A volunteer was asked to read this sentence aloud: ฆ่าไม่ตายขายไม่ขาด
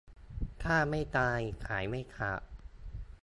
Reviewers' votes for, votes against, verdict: 2, 0, accepted